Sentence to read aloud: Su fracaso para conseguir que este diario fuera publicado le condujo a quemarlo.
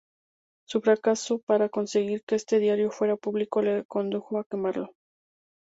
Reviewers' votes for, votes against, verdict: 2, 2, rejected